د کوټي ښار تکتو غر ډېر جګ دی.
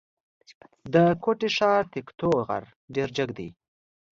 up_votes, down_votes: 2, 0